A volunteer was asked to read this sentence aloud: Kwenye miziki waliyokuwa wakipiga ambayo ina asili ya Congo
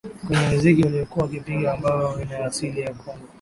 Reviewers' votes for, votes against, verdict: 2, 1, accepted